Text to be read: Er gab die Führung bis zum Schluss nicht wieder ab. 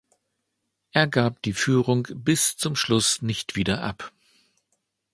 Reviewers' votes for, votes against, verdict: 2, 0, accepted